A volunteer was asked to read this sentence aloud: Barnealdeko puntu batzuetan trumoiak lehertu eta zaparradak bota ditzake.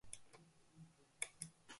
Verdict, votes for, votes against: rejected, 0, 2